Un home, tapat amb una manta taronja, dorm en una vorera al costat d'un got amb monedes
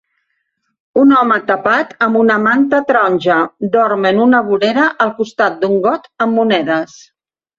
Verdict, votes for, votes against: accepted, 3, 0